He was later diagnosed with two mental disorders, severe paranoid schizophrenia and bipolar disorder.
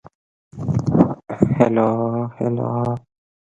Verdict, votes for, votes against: rejected, 0, 2